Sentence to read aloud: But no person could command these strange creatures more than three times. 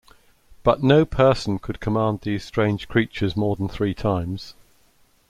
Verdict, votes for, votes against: accepted, 2, 0